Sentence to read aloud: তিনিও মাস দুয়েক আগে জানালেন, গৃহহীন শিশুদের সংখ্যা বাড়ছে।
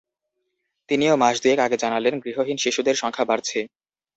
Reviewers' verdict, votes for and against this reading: accepted, 2, 0